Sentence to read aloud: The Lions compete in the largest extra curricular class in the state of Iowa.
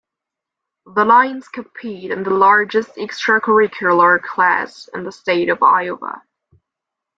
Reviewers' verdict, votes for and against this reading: accepted, 2, 0